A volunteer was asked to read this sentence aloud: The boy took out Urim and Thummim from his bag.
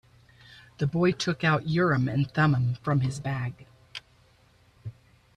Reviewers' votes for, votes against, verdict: 2, 0, accepted